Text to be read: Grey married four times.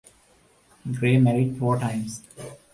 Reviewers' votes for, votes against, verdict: 2, 0, accepted